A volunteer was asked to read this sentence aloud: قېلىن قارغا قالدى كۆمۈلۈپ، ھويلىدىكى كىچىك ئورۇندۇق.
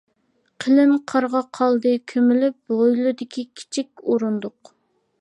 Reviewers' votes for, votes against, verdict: 2, 0, accepted